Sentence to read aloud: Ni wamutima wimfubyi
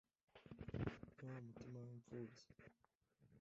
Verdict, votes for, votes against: rejected, 1, 2